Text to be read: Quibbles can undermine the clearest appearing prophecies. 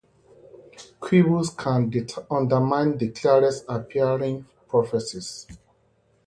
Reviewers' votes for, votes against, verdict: 0, 2, rejected